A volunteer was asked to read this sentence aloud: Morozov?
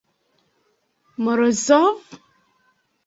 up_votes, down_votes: 2, 0